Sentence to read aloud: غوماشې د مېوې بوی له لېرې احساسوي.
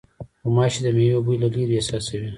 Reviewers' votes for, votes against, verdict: 2, 0, accepted